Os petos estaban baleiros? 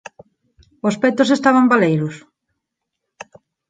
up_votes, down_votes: 38, 2